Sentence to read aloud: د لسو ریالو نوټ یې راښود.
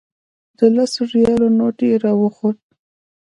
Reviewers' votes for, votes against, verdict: 2, 0, accepted